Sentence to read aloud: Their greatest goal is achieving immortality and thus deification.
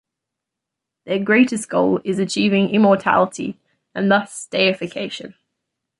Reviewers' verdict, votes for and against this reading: accepted, 2, 0